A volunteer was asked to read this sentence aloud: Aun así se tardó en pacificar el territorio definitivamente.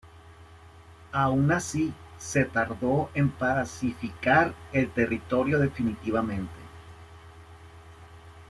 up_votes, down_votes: 0, 2